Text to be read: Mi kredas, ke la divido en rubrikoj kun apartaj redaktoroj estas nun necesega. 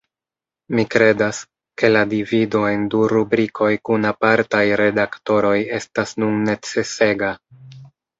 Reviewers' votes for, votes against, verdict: 1, 2, rejected